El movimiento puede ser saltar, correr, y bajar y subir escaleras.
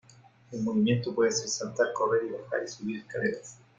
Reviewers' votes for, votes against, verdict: 2, 1, accepted